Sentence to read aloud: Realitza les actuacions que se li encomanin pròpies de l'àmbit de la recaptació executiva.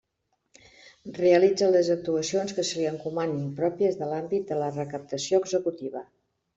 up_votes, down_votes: 2, 0